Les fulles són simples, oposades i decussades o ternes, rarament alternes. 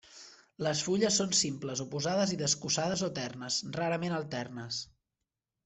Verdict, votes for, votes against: rejected, 1, 2